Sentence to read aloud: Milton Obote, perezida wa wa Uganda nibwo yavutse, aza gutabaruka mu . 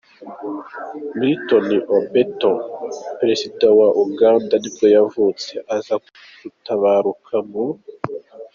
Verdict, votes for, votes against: rejected, 1, 2